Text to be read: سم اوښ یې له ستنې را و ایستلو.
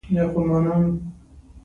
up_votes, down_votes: 2, 1